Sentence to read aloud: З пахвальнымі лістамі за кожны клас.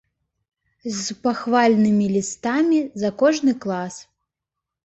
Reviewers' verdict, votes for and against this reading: accepted, 3, 0